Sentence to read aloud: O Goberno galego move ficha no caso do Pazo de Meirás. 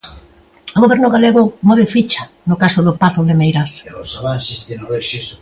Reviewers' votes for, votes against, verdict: 0, 2, rejected